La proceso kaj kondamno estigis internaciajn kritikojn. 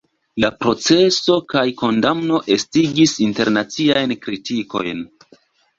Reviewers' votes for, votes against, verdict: 2, 0, accepted